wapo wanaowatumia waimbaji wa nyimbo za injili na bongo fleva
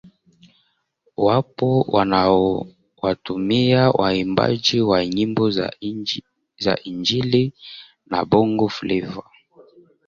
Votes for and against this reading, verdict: 1, 3, rejected